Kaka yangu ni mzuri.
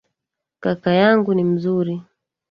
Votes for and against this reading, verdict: 2, 1, accepted